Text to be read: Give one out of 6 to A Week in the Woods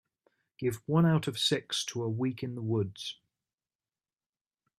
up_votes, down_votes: 0, 2